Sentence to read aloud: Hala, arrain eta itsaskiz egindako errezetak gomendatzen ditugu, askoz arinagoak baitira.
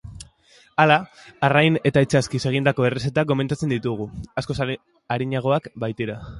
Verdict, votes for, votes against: rejected, 1, 3